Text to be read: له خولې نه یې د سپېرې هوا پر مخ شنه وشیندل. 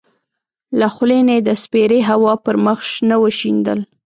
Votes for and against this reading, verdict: 2, 0, accepted